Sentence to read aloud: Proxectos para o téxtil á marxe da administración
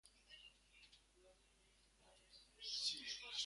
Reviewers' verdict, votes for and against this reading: rejected, 0, 2